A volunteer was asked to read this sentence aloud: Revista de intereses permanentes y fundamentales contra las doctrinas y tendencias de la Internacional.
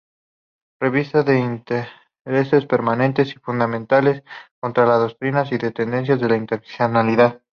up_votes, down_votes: 0, 4